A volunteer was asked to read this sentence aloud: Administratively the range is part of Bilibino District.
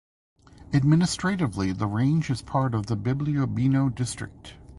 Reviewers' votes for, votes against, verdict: 1, 2, rejected